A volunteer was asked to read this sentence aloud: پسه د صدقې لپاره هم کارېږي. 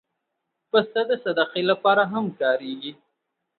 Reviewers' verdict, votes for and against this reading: accepted, 4, 0